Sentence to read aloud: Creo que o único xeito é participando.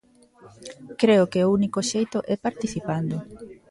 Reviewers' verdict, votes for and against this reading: rejected, 1, 2